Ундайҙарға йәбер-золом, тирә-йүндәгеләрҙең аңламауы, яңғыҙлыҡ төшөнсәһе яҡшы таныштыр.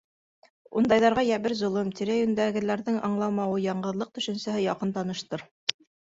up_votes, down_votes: 3, 4